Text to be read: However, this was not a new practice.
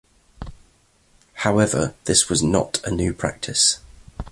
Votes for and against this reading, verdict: 2, 1, accepted